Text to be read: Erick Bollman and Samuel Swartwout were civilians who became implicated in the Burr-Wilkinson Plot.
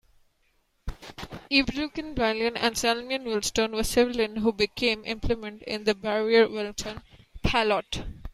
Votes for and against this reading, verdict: 0, 2, rejected